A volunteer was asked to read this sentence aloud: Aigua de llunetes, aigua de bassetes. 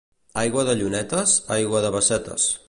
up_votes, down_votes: 2, 0